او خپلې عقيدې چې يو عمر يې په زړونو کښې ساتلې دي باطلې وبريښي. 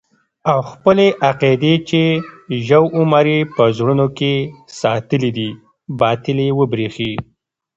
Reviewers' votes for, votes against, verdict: 2, 0, accepted